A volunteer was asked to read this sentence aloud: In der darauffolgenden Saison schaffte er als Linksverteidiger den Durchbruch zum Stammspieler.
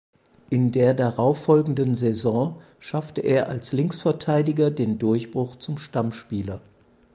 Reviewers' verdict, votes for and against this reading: accepted, 4, 0